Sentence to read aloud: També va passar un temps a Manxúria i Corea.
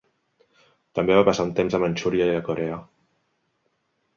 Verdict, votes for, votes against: rejected, 0, 3